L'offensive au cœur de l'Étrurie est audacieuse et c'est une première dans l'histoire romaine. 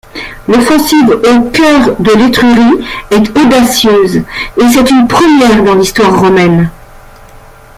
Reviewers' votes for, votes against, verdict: 0, 2, rejected